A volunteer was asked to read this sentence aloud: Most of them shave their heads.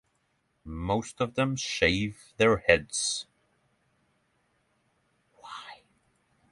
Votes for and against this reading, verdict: 0, 6, rejected